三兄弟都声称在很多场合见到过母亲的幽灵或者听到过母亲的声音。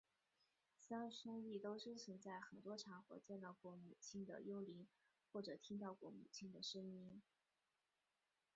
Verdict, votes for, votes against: rejected, 1, 2